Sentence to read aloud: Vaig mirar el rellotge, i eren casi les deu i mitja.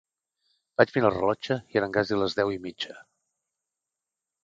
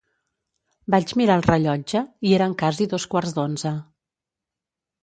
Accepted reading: first